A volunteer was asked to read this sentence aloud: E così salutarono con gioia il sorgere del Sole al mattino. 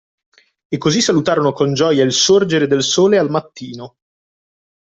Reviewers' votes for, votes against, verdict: 2, 0, accepted